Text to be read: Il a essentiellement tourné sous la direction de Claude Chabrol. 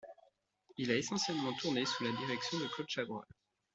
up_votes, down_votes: 2, 0